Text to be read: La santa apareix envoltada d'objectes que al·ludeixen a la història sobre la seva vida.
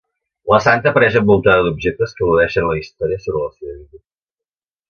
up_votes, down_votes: 2, 1